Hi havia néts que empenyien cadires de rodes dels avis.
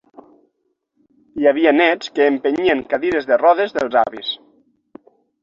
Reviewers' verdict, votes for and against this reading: accepted, 6, 0